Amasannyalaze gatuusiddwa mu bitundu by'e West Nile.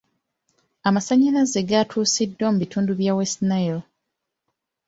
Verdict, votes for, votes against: accepted, 3, 0